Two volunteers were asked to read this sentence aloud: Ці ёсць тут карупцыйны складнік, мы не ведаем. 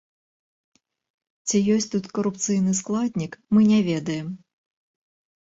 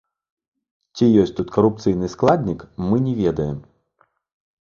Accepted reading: first